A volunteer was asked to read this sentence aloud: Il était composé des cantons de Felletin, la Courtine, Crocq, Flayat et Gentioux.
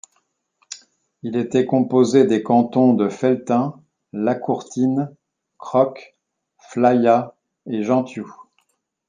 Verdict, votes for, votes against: accepted, 2, 1